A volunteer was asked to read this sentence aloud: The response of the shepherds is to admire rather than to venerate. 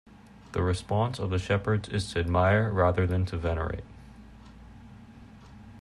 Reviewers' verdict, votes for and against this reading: accepted, 2, 0